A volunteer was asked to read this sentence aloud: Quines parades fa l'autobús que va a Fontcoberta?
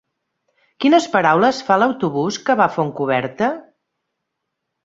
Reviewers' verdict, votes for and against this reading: rejected, 2, 3